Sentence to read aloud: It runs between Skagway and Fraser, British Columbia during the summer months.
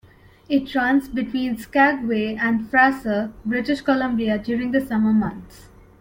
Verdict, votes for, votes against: rejected, 1, 2